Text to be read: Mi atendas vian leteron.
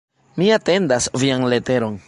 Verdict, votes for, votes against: accepted, 2, 1